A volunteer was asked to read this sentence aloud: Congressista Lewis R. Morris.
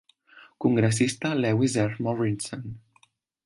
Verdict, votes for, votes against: rejected, 1, 2